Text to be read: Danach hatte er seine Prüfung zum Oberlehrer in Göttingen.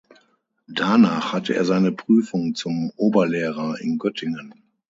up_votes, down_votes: 6, 0